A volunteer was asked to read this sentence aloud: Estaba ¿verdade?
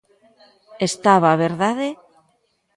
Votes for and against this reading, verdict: 2, 0, accepted